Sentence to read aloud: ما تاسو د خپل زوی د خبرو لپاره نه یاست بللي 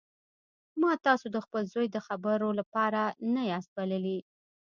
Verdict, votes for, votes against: rejected, 1, 2